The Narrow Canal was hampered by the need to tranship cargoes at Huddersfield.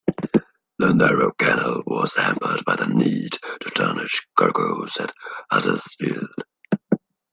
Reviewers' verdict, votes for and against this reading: rejected, 0, 2